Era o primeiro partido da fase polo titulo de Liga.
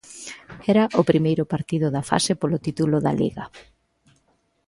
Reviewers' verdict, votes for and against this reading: accepted, 2, 1